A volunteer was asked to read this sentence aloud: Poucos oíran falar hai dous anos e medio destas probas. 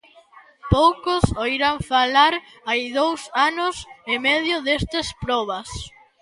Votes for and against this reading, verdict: 2, 0, accepted